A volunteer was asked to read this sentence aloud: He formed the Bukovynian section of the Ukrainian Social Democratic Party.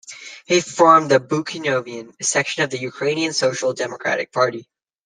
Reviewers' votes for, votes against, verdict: 0, 2, rejected